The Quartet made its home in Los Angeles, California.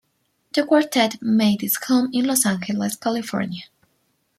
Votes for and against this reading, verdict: 2, 1, accepted